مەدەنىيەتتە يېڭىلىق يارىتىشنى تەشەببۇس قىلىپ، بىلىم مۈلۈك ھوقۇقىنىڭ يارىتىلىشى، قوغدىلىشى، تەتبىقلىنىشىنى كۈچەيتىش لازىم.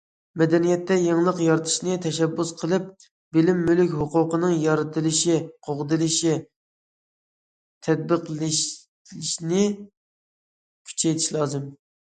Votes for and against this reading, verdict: 0, 2, rejected